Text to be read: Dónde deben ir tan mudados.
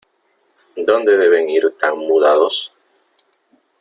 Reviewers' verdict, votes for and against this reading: accepted, 3, 0